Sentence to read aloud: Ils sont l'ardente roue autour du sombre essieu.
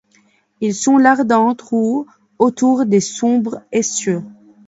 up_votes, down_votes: 1, 2